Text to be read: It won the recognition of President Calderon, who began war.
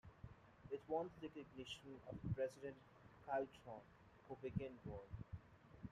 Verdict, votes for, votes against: rejected, 1, 2